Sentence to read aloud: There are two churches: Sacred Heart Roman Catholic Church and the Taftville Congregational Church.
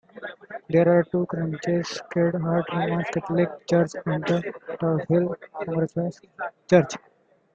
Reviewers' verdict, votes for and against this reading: rejected, 0, 2